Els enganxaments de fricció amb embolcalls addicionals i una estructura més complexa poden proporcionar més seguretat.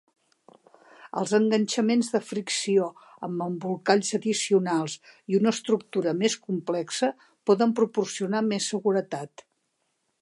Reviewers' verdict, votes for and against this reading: accepted, 2, 0